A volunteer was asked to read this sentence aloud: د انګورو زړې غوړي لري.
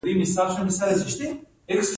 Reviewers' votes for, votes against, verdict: 1, 2, rejected